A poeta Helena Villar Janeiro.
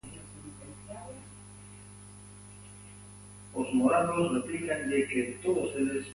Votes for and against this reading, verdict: 0, 2, rejected